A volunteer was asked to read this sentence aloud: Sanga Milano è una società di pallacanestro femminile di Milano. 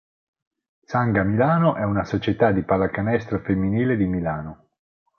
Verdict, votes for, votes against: accepted, 4, 0